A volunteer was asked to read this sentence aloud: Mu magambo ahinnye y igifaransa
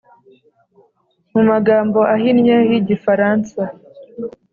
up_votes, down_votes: 3, 0